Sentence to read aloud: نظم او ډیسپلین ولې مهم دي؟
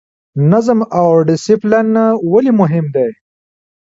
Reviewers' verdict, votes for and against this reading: rejected, 0, 2